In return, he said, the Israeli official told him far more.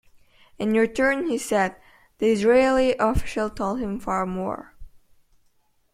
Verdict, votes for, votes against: rejected, 1, 2